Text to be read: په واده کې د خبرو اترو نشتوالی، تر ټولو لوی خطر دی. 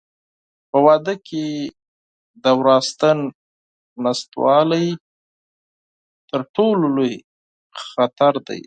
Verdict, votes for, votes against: rejected, 0, 4